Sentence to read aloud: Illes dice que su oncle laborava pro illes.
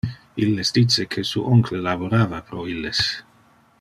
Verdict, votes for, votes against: accepted, 2, 0